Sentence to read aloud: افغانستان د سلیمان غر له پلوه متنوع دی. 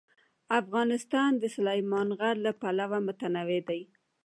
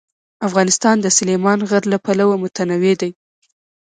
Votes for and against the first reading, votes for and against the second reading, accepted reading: 2, 0, 1, 2, first